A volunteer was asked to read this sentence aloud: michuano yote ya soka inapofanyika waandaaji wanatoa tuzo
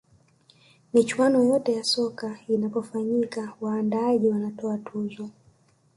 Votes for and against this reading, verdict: 4, 1, accepted